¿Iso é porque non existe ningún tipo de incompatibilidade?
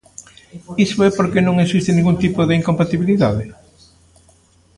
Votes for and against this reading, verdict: 2, 0, accepted